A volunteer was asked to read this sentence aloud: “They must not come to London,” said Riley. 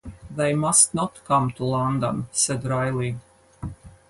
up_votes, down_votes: 4, 0